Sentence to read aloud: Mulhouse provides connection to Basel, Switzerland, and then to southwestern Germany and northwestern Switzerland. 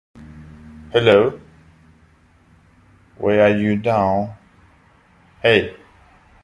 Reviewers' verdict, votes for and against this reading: rejected, 0, 3